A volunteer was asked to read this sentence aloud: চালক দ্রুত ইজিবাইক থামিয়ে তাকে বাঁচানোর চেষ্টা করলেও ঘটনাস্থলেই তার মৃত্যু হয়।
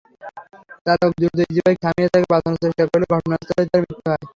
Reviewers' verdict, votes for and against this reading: accepted, 3, 0